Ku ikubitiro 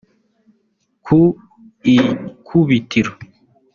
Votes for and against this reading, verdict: 2, 1, accepted